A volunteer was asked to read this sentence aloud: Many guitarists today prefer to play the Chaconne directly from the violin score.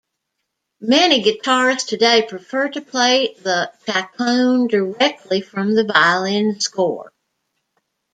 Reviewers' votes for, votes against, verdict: 0, 2, rejected